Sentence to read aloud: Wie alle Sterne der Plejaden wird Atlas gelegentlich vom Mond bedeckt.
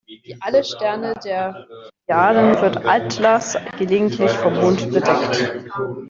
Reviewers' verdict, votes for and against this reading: rejected, 1, 2